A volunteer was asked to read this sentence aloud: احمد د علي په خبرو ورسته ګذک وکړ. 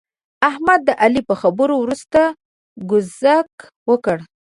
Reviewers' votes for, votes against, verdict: 2, 1, accepted